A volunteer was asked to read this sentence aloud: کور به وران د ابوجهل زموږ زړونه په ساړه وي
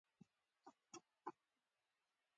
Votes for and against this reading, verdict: 0, 2, rejected